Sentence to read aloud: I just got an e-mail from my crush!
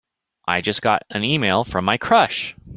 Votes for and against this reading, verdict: 2, 0, accepted